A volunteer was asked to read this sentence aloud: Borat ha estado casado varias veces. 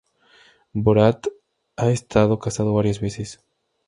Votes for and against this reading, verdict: 2, 0, accepted